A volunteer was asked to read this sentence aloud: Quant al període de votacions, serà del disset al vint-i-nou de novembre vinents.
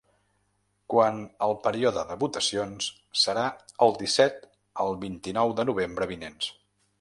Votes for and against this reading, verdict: 0, 2, rejected